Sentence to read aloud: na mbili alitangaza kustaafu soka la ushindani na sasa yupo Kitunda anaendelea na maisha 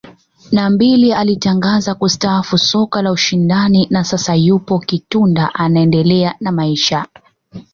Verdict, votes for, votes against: accepted, 2, 1